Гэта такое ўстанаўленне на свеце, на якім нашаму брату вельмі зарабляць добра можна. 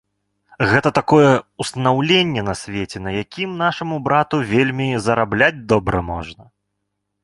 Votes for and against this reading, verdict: 3, 0, accepted